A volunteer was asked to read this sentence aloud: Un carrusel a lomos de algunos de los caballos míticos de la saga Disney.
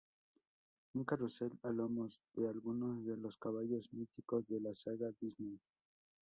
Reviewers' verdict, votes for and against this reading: rejected, 0, 2